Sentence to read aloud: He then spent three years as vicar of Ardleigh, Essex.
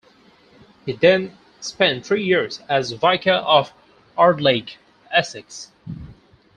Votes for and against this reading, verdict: 2, 4, rejected